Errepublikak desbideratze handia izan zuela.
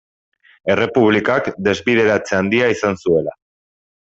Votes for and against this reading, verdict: 3, 0, accepted